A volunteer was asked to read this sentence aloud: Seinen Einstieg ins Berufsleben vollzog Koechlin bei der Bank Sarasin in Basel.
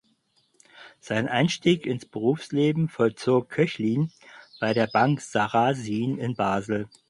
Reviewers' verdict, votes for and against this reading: accepted, 4, 0